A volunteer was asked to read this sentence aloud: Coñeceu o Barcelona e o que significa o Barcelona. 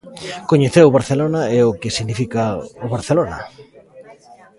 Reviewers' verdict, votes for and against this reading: rejected, 1, 2